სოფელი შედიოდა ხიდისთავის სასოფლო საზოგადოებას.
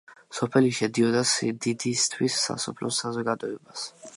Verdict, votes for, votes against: rejected, 0, 2